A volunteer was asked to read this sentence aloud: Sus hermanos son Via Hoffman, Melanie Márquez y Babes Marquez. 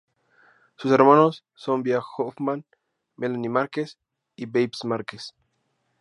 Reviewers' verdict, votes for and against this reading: accepted, 2, 0